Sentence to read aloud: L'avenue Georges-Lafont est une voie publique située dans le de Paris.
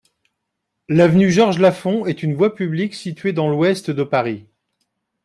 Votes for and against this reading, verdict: 0, 2, rejected